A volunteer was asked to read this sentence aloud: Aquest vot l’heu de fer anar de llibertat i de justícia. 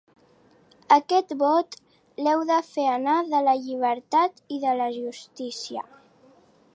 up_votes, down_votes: 0, 2